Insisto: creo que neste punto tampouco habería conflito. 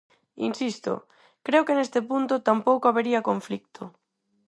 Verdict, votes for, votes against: rejected, 2, 2